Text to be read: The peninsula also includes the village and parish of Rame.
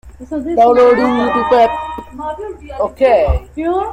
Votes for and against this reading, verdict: 0, 2, rejected